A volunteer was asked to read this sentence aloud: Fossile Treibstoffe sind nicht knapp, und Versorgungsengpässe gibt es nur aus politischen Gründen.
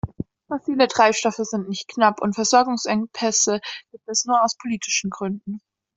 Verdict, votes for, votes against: rejected, 1, 2